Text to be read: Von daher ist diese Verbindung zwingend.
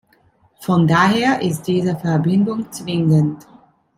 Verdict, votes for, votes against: accepted, 2, 0